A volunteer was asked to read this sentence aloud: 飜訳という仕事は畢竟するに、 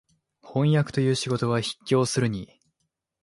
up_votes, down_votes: 3, 0